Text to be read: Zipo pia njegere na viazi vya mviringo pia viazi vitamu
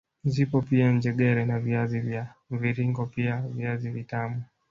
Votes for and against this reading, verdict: 4, 0, accepted